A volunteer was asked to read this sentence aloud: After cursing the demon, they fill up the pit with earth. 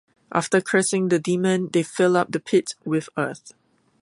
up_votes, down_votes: 2, 0